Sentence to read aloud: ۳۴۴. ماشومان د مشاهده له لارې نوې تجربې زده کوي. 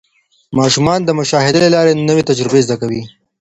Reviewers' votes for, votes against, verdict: 0, 2, rejected